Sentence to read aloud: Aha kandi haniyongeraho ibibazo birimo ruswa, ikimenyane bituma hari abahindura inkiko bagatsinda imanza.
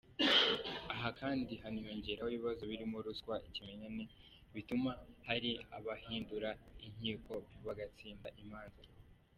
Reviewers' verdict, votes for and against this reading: accepted, 2, 0